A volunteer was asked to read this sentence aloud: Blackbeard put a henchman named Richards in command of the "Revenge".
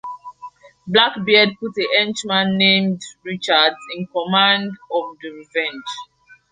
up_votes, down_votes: 2, 0